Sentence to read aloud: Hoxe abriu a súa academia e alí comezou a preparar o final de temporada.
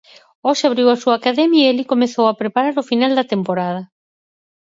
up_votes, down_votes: 2, 4